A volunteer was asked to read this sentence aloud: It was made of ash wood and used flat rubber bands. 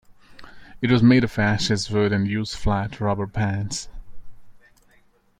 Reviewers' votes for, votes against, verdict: 0, 2, rejected